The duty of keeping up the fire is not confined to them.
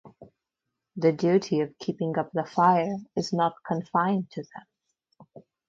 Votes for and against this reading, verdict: 4, 0, accepted